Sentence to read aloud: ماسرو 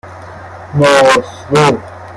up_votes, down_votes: 1, 2